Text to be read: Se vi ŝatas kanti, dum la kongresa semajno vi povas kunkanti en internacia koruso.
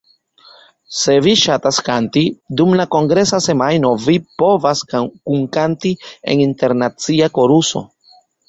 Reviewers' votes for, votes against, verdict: 2, 1, accepted